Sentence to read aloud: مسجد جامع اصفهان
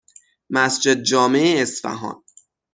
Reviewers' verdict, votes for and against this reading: rejected, 3, 3